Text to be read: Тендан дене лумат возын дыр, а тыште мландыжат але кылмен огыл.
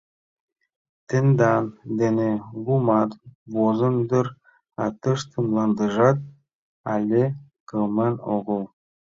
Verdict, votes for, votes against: accepted, 2, 0